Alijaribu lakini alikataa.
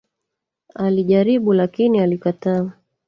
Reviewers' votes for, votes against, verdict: 1, 2, rejected